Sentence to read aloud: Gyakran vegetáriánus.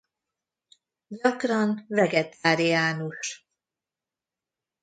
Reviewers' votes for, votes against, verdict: 1, 2, rejected